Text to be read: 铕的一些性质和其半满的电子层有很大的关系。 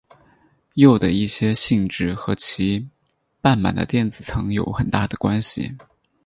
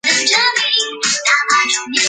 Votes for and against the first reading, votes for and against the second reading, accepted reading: 6, 0, 0, 2, first